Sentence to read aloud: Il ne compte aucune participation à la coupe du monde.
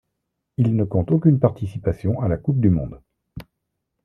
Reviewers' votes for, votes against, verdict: 1, 2, rejected